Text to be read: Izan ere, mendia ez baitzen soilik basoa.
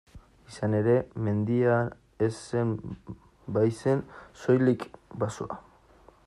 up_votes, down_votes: 0, 2